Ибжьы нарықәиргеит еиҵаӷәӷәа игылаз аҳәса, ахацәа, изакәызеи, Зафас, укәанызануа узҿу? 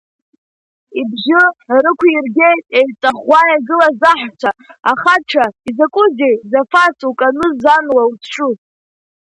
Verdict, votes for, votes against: rejected, 0, 2